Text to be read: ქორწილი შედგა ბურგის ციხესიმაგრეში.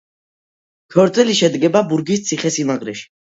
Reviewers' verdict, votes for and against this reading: accepted, 2, 1